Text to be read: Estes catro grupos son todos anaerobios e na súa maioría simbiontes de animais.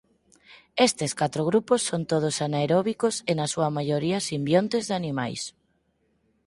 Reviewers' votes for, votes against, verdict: 0, 6, rejected